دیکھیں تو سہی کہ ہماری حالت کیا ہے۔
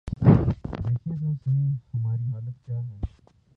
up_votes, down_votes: 0, 2